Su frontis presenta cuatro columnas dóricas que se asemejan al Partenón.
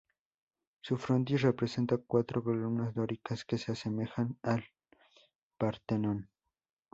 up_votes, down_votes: 2, 0